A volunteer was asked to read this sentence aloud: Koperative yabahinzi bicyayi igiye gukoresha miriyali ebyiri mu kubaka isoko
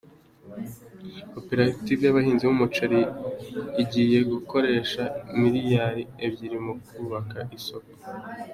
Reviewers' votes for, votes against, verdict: 0, 2, rejected